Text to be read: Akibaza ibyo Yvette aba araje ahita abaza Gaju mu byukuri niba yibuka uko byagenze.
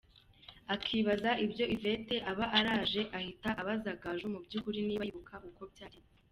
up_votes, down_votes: 2, 0